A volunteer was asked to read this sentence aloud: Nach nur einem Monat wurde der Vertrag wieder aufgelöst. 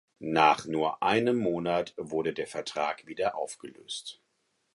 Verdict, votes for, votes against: accepted, 4, 0